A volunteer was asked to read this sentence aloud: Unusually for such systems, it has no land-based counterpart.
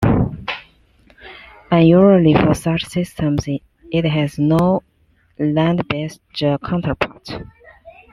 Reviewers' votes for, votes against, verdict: 0, 2, rejected